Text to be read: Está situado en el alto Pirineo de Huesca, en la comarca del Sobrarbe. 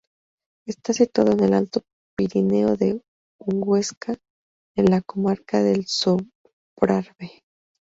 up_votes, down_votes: 2, 4